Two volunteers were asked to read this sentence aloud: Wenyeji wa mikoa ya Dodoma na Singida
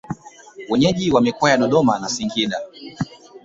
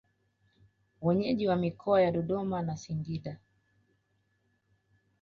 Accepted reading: second